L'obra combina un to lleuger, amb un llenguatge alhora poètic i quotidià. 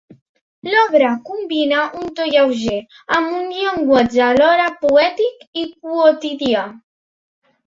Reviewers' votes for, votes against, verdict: 2, 0, accepted